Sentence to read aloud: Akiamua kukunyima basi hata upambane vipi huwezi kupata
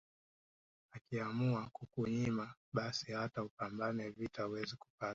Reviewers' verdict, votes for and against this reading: rejected, 2, 3